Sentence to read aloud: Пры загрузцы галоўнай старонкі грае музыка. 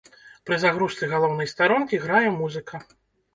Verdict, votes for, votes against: accepted, 2, 0